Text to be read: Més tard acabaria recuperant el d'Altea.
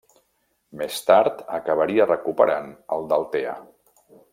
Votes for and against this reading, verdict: 2, 0, accepted